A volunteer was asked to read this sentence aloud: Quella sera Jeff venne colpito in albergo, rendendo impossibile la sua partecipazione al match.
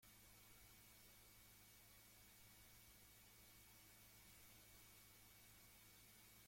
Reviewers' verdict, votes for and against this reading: rejected, 0, 2